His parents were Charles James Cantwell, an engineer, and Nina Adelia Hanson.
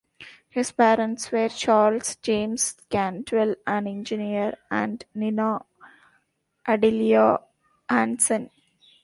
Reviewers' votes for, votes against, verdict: 0, 2, rejected